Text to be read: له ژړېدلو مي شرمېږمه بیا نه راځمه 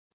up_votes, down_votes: 1, 2